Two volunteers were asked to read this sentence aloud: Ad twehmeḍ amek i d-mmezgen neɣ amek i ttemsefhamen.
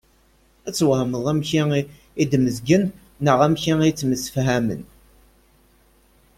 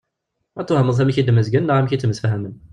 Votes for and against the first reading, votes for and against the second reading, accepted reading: 2, 0, 1, 2, first